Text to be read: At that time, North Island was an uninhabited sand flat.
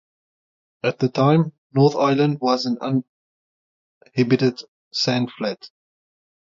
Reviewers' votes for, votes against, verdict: 3, 3, rejected